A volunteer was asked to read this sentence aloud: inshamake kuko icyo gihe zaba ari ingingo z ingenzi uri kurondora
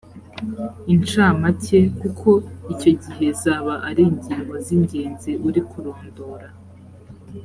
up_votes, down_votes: 2, 0